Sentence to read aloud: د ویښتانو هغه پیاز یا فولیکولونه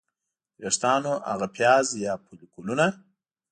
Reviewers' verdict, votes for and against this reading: accepted, 2, 0